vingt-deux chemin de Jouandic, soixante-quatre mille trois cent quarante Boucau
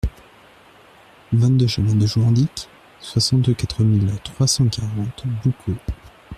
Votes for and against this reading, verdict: 1, 2, rejected